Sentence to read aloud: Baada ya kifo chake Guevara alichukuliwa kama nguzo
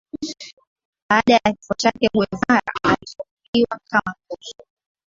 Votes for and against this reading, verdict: 0, 2, rejected